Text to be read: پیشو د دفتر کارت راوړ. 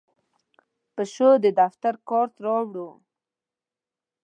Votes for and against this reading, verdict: 2, 0, accepted